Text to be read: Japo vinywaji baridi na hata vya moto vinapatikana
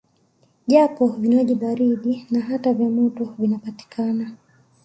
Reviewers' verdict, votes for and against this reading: accepted, 2, 0